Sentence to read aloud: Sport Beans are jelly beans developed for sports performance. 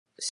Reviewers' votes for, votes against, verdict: 0, 2, rejected